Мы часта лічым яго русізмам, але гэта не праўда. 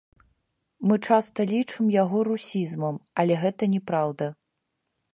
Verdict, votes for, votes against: rejected, 0, 2